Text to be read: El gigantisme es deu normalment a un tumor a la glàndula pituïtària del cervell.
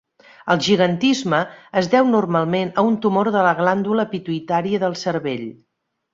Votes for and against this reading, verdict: 1, 3, rejected